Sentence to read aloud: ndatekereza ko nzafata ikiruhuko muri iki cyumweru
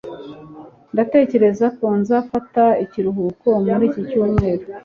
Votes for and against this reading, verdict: 2, 1, accepted